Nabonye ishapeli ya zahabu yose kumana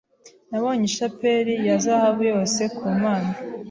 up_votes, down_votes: 2, 0